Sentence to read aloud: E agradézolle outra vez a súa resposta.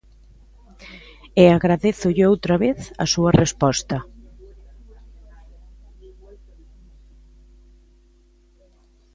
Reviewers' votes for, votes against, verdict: 0, 2, rejected